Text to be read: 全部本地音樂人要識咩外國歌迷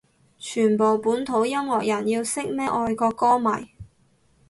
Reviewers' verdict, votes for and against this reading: rejected, 0, 2